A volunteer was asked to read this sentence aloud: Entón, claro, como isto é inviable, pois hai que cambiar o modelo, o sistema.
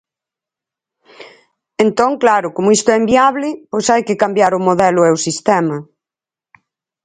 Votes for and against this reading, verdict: 0, 4, rejected